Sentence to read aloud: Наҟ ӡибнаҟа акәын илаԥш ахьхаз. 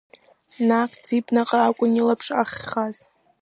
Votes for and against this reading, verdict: 2, 0, accepted